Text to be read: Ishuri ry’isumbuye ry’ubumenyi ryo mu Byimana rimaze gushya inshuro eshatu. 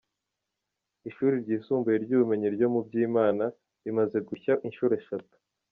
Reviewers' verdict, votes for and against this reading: accepted, 2, 0